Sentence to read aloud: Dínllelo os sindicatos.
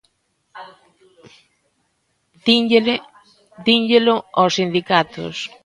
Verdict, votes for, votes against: rejected, 1, 2